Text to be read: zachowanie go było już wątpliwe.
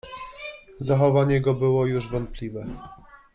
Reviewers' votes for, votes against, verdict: 2, 0, accepted